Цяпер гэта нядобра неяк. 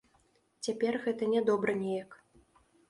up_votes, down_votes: 2, 0